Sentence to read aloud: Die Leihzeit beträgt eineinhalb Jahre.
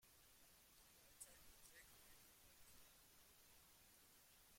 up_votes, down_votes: 0, 2